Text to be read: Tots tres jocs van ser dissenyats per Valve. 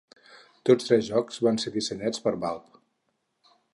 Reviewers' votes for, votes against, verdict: 6, 0, accepted